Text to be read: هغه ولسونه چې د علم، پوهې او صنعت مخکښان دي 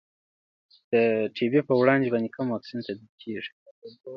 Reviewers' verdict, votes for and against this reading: rejected, 0, 2